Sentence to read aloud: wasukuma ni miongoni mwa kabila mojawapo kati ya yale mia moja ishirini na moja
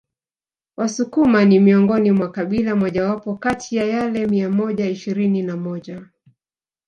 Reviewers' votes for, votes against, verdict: 1, 2, rejected